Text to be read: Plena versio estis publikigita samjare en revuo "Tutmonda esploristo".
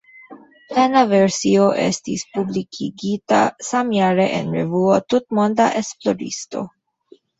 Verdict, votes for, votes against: accepted, 2, 0